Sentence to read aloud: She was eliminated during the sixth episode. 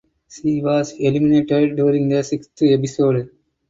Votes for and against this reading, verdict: 4, 0, accepted